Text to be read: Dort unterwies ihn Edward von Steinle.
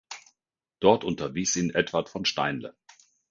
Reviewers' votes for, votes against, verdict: 2, 0, accepted